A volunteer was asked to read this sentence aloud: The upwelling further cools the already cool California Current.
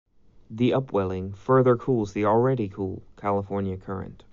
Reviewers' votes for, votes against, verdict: 2, 0, accepted